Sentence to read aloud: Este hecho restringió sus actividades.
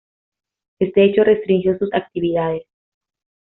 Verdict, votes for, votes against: accepted, 2, 1